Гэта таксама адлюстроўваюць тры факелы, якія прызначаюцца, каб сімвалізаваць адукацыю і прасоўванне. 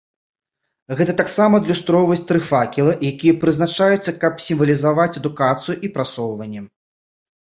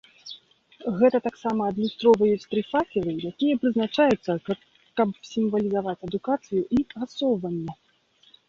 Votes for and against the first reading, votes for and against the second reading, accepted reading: 2, 1, 0, 2, first